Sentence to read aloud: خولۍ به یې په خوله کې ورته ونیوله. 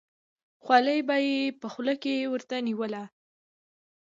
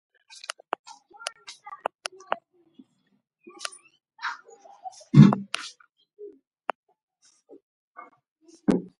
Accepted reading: first